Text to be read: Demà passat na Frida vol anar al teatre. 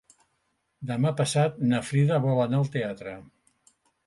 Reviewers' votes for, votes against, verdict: 3, 0, accepted